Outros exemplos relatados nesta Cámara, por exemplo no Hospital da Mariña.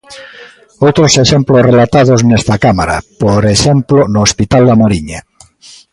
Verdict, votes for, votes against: accepted, 2, 0